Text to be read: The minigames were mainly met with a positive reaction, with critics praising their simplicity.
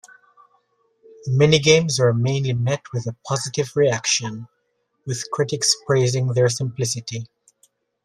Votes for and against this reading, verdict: 2, 1, accepted